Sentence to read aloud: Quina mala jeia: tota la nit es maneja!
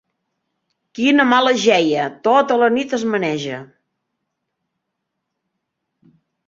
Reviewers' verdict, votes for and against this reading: accepted, 3, 1